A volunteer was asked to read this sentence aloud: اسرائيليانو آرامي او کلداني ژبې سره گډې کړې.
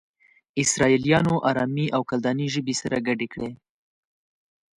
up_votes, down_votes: 3, 1